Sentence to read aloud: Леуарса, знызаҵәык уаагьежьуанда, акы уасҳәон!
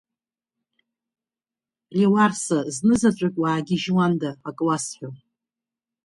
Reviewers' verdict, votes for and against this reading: accepted, 3, 1